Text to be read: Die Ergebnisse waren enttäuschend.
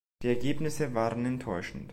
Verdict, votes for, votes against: accepted, 2, 0